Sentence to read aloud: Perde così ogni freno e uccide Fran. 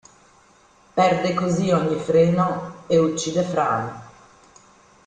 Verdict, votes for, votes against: rejected, 1, 2